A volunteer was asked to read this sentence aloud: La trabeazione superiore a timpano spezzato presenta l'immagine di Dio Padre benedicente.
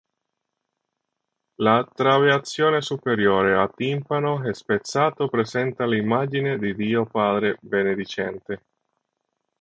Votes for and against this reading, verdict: 0, 3, rejected